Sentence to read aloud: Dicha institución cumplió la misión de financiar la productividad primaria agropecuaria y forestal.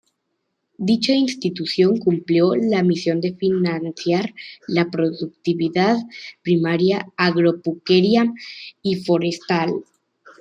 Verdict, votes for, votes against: rejected, 1, 2